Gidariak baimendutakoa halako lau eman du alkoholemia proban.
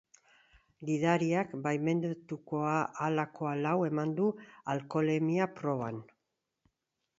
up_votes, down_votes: 1, 2